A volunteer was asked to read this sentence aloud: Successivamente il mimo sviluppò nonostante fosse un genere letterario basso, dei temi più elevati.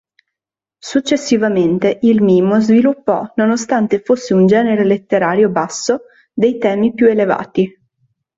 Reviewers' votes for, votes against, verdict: 2, 0, accepted